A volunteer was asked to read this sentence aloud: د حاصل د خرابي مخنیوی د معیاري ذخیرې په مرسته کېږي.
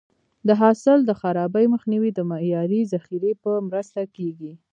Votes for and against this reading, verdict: 2, 1, accepted